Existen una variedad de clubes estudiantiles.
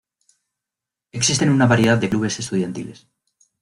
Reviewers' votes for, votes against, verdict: 2, 0, accepted